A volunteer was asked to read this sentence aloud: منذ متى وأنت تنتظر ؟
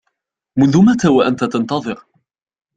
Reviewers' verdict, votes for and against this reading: accepted, 2, 0